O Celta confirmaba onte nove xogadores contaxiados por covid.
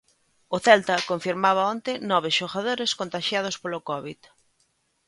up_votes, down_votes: 1, 2